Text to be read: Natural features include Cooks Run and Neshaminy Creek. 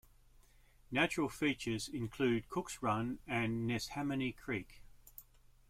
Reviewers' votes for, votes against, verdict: 2, 0, accepted